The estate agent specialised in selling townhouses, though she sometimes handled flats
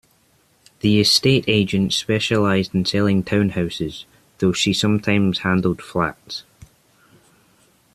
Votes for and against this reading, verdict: 2, 0, accepted